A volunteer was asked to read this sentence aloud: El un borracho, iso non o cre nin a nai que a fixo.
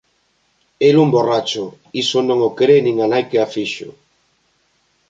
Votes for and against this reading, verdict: 2, 1, accepted